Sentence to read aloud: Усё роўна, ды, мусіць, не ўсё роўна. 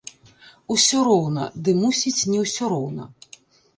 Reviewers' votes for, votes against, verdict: 1, 2, rejected